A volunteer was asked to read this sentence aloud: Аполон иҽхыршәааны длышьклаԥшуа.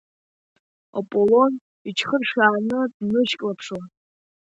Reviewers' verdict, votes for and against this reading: rejected, 0, 2